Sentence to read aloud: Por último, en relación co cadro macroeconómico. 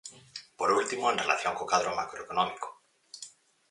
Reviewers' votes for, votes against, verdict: 4, 0, accepted